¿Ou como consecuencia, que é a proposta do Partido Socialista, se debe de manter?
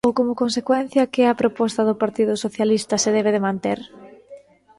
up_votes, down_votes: 1, 2